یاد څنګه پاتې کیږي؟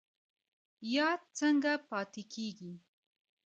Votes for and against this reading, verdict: 2, 0, accepted